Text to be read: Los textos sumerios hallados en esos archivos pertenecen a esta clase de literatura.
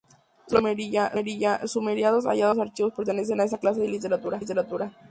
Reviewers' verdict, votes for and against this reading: rejected, 0, 2